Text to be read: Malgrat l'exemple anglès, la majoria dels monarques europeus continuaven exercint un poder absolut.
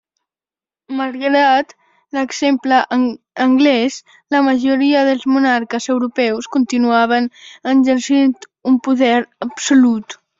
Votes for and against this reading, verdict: 1, 2, rejected